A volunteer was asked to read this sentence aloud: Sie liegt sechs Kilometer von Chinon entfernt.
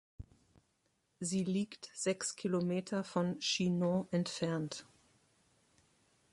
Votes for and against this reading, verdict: 2, 0, accepted